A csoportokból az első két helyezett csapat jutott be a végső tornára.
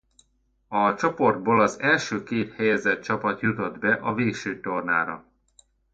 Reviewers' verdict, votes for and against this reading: rejected, 0, 2